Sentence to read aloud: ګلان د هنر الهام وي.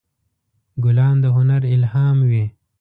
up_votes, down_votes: 2, 0